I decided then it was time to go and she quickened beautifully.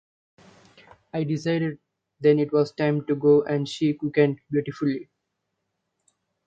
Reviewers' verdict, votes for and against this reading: rejected, 0, 2